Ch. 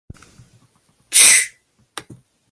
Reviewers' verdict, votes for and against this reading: rejected, 1, 2